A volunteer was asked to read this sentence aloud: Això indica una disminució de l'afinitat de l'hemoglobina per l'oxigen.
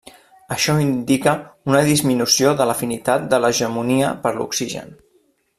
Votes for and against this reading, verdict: 0, 2, rejected